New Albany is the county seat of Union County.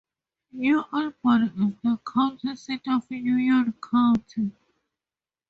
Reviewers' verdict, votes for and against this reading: rejected, 2, 4